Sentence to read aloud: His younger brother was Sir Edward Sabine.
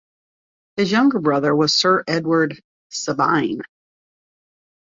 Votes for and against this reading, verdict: 2, 0, accepted